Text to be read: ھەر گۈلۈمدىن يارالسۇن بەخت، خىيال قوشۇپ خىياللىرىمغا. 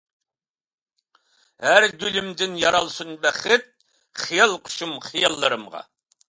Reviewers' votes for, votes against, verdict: 1, 2, rejected